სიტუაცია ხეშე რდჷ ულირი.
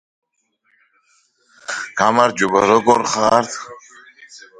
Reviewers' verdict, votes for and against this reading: rejected, 0, 2